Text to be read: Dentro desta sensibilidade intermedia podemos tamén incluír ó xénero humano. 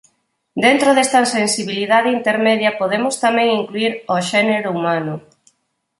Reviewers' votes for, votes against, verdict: 4, 0, accepted